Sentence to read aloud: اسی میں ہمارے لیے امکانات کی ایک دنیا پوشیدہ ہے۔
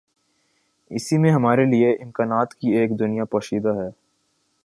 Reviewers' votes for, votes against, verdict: 5, 0, accepted